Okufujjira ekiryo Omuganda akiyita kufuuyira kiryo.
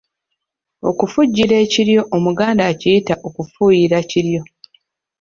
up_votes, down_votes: 3, 0